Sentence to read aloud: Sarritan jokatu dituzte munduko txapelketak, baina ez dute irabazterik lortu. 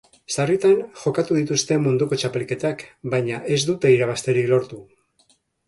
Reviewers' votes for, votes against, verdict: 2, 0, accepted